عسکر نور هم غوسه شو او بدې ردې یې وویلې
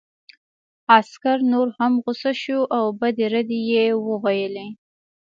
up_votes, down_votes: 2, 0